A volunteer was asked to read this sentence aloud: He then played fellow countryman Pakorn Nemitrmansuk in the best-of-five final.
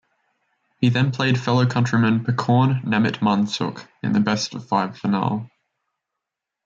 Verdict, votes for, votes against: accepted, 2, 0